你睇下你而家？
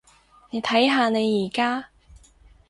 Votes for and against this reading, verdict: 4, 0, accepted